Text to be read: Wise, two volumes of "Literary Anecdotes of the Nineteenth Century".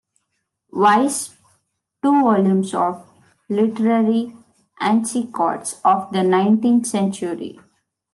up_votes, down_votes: 0, 2